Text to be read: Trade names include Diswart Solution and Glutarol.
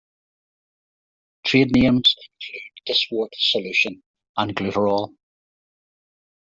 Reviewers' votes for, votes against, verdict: 0, 3, rejected